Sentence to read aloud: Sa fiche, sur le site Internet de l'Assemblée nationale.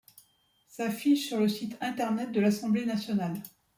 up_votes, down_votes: 2, 0